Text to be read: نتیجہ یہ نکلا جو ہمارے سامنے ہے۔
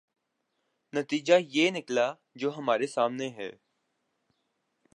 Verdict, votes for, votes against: rejected, 1, 2